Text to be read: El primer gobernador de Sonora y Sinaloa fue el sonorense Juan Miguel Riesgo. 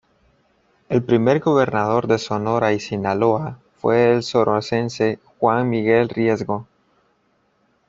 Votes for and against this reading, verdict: 1, 2, rejected